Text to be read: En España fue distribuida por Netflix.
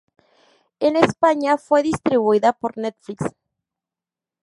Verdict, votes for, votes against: rejected, 2, 2